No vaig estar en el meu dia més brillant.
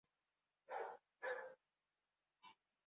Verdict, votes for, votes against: rejected, 1, 2